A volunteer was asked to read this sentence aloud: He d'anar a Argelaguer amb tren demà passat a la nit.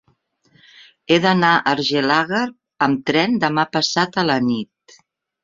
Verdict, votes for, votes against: rejected, 1, 2